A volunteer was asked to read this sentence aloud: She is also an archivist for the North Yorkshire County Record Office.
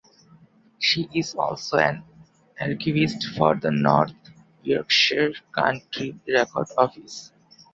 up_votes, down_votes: 0, 2